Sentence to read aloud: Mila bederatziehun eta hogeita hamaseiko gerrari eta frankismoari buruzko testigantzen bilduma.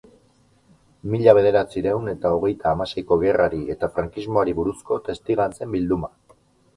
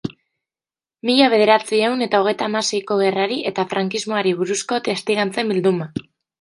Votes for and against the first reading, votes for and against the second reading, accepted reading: 0, 2, 2, 0, second